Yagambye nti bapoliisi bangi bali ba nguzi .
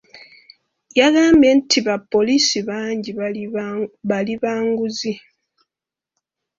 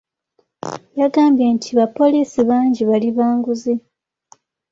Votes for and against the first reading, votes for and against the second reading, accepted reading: 2, 3, 2, 0, second